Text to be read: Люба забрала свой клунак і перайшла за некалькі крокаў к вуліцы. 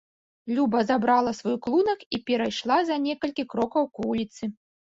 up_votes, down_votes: 2, 0